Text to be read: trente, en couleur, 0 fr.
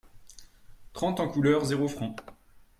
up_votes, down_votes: 0, 2